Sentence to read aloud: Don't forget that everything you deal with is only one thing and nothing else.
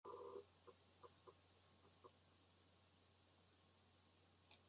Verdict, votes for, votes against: rejected, 0, 2